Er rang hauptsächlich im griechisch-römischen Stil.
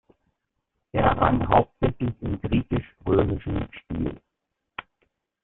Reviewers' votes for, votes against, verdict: 1, 2, rejected